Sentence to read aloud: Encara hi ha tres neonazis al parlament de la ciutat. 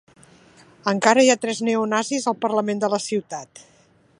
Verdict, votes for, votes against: accepted, 2, 0